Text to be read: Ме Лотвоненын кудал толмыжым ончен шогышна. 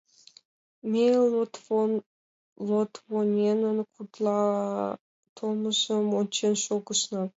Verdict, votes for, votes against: rejected, 1, 2